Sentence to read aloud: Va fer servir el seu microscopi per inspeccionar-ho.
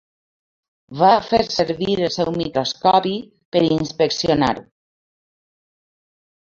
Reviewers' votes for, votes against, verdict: 2, 1, accepted